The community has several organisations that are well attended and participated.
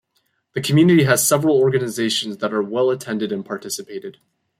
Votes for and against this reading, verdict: 2, 0, accepted